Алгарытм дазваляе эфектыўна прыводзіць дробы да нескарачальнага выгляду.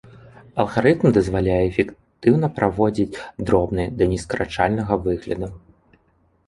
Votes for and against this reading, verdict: 0, 3, rejected